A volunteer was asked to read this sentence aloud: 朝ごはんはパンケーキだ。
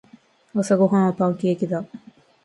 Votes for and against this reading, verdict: 3, 0, accepted